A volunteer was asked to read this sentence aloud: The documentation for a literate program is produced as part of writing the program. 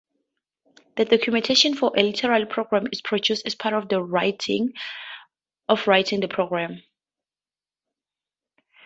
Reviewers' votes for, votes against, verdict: 0, 2, rejected